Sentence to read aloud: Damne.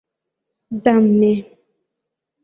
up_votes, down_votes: 2, 1